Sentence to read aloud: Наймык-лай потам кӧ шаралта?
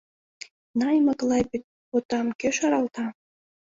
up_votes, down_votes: 2, 1